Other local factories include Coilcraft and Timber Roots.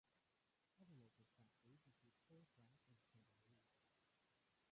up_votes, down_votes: 0, 2